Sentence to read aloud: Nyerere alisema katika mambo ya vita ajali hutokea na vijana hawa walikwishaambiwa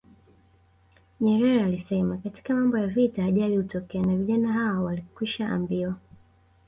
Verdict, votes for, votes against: rejected, 0, 2